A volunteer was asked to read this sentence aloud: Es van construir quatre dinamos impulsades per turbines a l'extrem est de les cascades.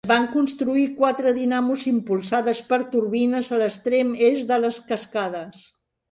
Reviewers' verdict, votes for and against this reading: rejected, 0, 4